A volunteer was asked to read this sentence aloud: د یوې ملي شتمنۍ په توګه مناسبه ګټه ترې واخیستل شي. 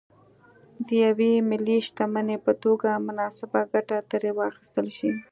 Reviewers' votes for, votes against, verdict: 2, 0, accepted